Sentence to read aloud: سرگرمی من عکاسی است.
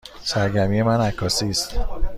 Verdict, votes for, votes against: accepted, 2, 0